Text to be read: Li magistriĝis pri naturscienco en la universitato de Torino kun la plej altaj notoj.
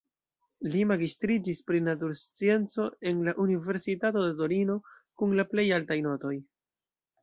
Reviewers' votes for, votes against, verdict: 2, 0, accepted